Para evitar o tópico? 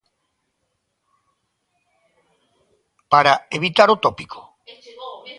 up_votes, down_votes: 2, 1